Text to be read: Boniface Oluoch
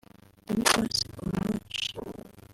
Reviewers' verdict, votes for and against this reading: rejected, 0, 2